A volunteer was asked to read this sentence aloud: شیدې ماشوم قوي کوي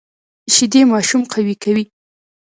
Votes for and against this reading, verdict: 2, 1, accepted